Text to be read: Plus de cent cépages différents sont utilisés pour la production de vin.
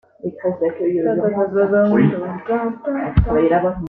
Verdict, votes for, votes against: rejected, 0, 2